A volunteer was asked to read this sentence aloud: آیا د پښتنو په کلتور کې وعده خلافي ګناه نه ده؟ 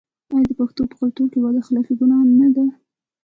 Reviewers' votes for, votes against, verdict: 0, 2, rejected